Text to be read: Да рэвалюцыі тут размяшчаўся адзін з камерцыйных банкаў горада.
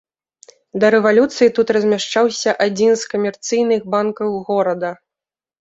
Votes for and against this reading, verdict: 3, 0, accepted